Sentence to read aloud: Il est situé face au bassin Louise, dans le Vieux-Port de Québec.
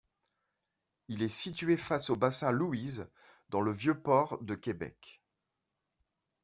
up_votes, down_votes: 2, 0